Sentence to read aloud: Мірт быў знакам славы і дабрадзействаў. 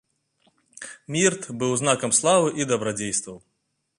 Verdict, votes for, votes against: accepted, 2, 0